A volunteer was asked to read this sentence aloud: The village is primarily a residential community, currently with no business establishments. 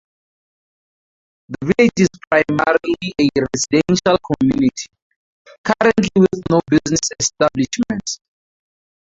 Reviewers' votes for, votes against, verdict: 0, 4, rejected